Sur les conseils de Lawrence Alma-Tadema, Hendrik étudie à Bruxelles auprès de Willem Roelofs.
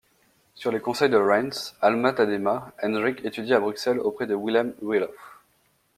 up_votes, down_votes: 1, 2